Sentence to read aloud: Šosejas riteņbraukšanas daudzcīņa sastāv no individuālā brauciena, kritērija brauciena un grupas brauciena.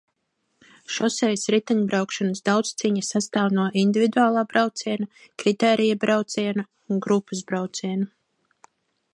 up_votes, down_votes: 2, 0